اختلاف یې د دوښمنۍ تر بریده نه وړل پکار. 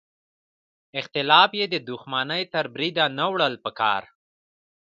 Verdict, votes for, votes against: accepted, 2, 0